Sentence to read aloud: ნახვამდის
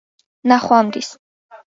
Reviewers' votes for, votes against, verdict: 2, 0, accepted